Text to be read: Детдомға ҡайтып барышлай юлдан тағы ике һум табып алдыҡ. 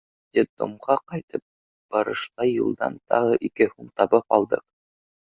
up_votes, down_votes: 2, 0